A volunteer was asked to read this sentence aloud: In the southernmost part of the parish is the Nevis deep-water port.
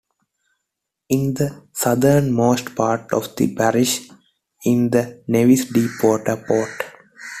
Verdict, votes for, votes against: accepted, 2, 0